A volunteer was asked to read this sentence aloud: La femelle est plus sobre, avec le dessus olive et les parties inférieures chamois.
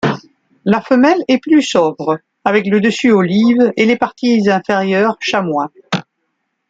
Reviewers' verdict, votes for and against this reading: accepted, 2, 0